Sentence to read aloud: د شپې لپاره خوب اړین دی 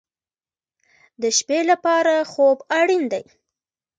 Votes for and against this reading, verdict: 1, 2, rejected